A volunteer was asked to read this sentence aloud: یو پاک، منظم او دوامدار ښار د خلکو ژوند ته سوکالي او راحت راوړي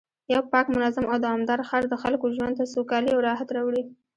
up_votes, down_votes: 0, 2